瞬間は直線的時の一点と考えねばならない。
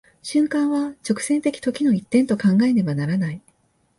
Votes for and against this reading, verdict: 2, 0, accepted